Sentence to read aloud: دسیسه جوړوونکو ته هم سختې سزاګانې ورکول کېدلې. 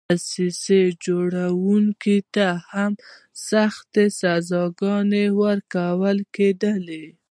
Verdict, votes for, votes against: rejected, 1, 2